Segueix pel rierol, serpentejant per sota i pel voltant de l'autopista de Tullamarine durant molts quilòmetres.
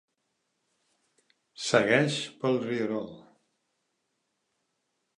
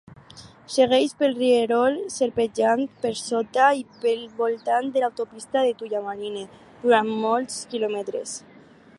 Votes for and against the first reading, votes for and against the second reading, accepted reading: 0, 4, 4, 2, second